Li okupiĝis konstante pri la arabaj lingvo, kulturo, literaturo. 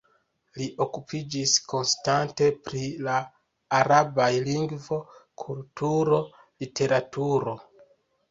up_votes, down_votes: 2, 0